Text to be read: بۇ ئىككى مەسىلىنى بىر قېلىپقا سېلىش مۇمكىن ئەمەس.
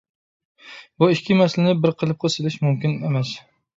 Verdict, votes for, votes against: accepted, 2, 0